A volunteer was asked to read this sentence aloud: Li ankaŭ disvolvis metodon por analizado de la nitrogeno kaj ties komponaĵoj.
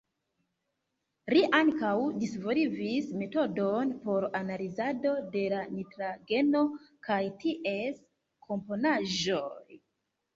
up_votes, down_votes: 0, 3